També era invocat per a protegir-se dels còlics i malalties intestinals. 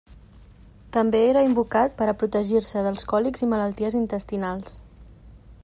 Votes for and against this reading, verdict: 2, 0, accepted